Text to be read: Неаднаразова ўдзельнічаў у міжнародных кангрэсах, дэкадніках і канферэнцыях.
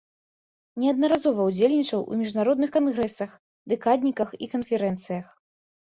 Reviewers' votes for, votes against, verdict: 2, 0, accepted